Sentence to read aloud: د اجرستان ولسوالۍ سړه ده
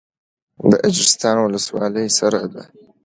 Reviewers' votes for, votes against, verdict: 2, 0, accepted